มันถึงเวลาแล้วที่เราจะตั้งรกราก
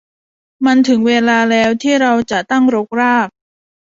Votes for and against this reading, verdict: 2, 0, accepted